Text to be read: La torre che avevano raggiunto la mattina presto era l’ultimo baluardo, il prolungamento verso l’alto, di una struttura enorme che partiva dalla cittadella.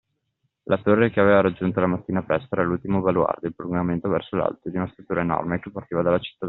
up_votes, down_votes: 0, 2